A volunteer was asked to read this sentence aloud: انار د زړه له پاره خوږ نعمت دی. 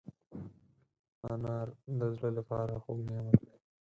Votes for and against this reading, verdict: 0, 4, rejected